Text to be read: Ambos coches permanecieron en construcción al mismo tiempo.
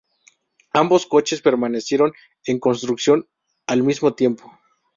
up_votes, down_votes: 2, 0